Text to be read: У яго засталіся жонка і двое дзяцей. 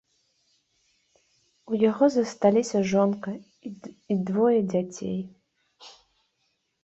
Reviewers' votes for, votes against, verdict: 2, 0, accepted